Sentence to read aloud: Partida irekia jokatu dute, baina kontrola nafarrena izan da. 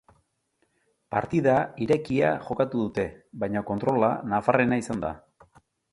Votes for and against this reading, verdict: 3, 0, accepted